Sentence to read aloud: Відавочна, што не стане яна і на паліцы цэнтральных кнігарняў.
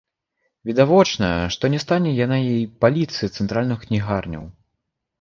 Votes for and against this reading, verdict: 0, 2, rejected